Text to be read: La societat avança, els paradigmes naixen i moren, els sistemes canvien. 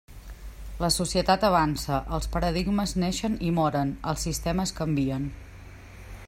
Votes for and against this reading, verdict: 2, 0, accepted